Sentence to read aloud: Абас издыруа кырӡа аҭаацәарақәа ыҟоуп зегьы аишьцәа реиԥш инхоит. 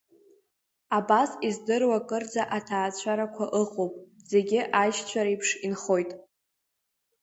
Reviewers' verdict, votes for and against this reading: accepted, 3, 1